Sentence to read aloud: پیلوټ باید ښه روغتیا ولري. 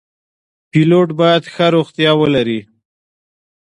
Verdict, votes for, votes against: accepted, 2, 0